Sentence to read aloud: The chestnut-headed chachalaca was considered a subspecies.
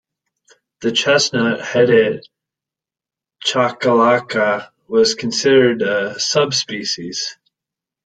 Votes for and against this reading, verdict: 2, 1, accepted